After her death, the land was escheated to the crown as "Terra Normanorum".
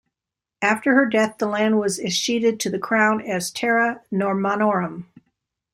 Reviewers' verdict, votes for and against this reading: accepted, 2, 0